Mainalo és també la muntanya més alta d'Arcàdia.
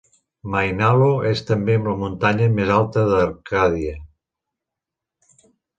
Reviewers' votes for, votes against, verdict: 0, 2, rejected